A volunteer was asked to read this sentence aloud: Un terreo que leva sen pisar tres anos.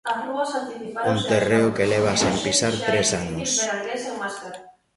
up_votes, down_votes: 0, 2